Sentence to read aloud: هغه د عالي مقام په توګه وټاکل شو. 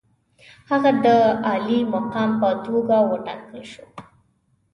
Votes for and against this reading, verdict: 3, 0, accepted